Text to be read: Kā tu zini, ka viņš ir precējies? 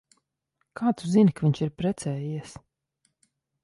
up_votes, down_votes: 2, 0